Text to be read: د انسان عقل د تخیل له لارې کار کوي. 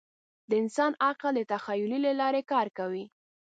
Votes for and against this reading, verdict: 1, 2, rejected